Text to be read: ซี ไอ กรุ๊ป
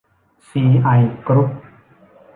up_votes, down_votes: 2, 0